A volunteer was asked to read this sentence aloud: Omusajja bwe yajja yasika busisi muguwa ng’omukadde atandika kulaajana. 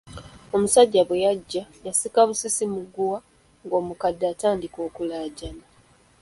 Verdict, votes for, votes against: rejected, 1, 2